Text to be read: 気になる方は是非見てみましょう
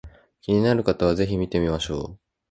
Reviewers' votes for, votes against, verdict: 2, 0, accepted